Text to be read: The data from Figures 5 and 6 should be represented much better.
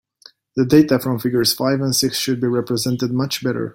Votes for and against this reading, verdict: 0, 2, rejected